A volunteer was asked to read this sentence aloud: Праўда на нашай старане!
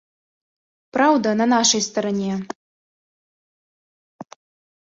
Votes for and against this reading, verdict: 2, 0, accepted